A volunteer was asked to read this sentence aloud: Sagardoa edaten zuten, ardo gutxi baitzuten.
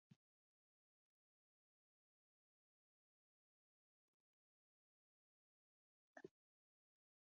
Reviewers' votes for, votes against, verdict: 0, 3, rejected